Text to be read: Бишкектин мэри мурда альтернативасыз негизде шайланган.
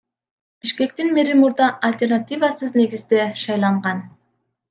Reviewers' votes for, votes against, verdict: 2, 1, accepted